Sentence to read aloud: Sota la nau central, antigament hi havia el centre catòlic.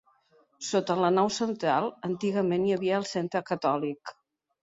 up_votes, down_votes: 2, 0